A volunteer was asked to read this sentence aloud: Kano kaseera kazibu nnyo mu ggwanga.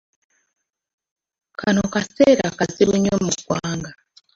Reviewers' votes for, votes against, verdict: 1, 2, rejected